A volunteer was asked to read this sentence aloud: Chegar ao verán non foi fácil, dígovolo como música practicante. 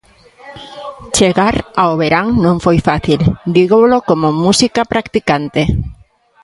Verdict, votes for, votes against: accepted, 3, 0